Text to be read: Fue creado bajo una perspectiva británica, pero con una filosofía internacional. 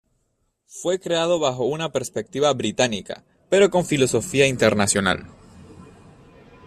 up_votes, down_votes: 0, 2